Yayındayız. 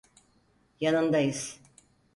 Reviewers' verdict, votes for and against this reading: rejected, 2, 4